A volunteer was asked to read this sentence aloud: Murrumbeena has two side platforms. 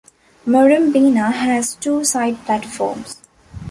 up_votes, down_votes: 2, 0